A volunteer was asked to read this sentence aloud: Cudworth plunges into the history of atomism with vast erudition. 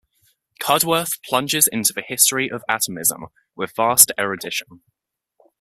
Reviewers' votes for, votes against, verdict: 2, 0, accepted